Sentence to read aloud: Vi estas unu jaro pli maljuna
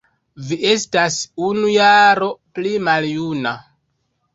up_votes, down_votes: 0, 2